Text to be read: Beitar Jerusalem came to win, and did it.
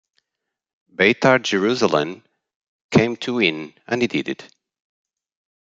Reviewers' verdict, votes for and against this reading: rejected, 0, 2